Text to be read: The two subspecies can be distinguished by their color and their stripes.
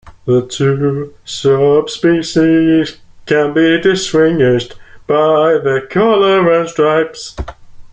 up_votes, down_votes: 1, 2